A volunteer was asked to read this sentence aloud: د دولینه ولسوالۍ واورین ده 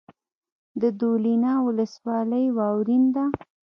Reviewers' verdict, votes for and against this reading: rejected, 1, 2